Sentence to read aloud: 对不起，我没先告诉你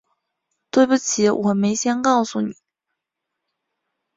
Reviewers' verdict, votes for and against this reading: accepted, 2, 0